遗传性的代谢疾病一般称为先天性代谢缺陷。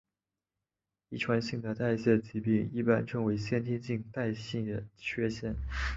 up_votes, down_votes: 5, 1